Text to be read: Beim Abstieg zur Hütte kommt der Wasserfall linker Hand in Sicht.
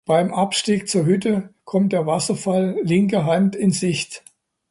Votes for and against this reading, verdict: 2, 0, accepted